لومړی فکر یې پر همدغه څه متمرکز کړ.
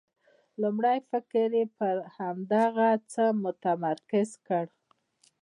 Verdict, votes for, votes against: rejected, 0, 2